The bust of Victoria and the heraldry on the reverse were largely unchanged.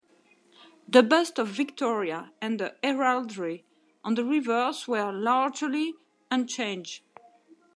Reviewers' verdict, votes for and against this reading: rejected, 1, 2